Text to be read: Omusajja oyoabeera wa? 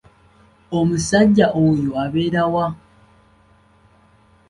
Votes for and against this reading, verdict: 2, 0, accepted